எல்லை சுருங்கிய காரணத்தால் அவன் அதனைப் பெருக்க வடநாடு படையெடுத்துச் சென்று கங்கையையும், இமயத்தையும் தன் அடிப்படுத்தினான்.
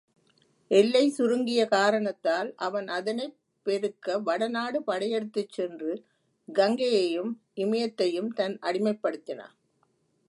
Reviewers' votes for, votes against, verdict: 1, 2, rejected